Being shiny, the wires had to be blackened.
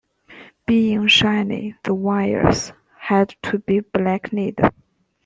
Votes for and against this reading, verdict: 0, 2, rejected